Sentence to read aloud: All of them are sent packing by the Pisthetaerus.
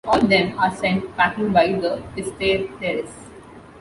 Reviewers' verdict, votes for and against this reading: rejected, 0, 2